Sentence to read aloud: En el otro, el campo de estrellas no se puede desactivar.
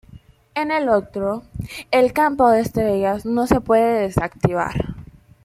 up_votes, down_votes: 2, 1